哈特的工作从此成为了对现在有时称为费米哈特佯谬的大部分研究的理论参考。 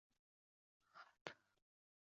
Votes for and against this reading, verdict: 0, 2, rejected